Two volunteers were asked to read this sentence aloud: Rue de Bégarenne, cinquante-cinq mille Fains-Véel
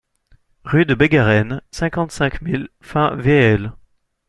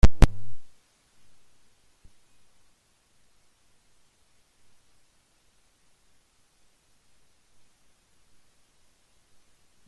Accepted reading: first